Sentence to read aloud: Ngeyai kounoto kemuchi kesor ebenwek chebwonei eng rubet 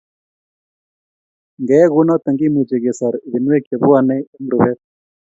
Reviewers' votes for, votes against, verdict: 3, 0, accepted